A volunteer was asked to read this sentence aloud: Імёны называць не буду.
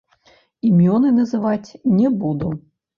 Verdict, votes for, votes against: rejected, 0, 2